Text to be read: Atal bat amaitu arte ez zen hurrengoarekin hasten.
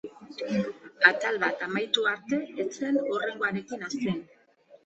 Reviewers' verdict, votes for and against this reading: accepted, 2, 1